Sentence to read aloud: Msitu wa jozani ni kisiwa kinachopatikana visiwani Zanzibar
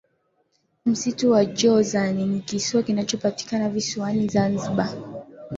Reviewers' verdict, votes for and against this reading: rejected, 0, 2